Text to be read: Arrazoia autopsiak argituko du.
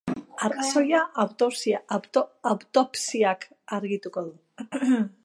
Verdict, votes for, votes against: rejected, 0, 4